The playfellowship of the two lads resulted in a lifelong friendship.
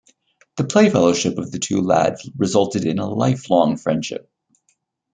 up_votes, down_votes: 2, 1